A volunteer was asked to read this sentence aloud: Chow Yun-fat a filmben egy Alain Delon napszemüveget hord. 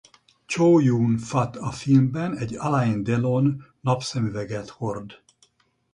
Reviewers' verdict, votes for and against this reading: rejected, 2, 2